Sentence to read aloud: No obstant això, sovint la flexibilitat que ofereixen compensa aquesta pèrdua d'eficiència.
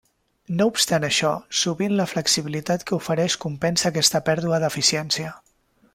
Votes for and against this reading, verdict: 0, 2, rejected